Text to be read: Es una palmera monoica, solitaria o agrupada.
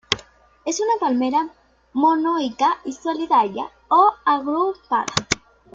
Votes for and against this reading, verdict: 2, 1, accepted